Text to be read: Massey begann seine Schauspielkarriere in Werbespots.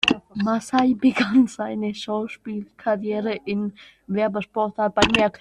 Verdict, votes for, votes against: rejected, 0, 2